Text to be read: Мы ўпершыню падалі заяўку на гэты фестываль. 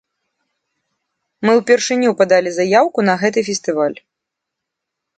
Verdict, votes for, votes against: accepted, 2, 0